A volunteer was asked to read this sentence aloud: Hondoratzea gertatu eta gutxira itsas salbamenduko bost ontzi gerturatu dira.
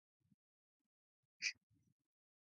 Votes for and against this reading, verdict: 0, 4, rejected